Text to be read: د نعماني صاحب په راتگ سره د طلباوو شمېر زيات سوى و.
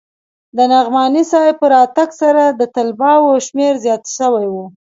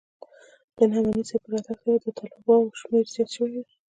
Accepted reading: first